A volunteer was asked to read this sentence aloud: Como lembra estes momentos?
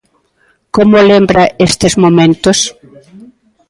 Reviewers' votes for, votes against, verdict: 1, 2, rejected